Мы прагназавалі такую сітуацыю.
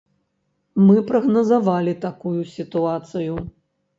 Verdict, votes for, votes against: accepted, 2, 0